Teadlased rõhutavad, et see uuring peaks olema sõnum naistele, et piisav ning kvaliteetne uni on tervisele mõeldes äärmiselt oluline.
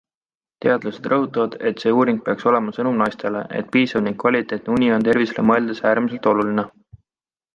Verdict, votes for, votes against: accepted, 2, 0